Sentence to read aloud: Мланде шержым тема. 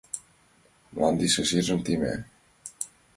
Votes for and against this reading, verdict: 1, 5, rejected